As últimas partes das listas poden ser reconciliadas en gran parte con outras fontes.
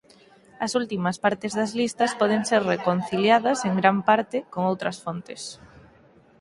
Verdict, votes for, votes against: accepted, 4, 0